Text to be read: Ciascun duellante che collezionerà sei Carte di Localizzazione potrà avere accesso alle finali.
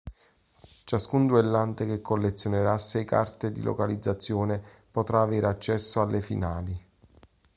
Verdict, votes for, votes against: accepted, 2, 0